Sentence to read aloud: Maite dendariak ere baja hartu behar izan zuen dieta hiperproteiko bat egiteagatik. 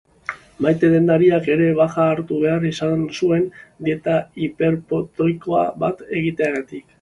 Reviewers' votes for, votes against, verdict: 0, 2, rejected